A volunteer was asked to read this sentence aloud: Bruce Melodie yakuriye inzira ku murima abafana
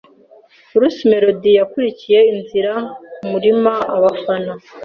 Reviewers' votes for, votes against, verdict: 1, 2, rejected